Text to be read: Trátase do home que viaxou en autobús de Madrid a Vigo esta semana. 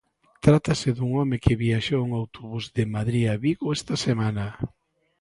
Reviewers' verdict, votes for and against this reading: rejected, 0, 2